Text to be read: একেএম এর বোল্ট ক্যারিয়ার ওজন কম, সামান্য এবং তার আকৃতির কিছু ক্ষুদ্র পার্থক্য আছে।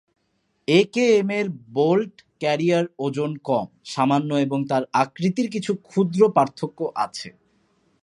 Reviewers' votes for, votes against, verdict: 2, 0, accepted